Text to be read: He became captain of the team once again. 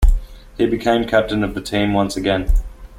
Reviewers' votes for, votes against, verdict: 2, 0, accepted